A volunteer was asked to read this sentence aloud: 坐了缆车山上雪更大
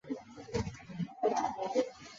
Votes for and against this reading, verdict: 1, 2, rejected